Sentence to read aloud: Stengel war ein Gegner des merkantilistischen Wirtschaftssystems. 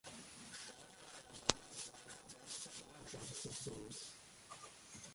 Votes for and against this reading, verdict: 0, 2, rejected